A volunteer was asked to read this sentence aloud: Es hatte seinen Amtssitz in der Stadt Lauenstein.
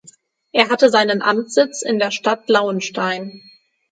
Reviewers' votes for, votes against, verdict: 0, 6, rejected